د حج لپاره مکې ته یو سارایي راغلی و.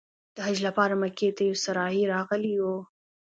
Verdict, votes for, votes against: accepted, 2, 0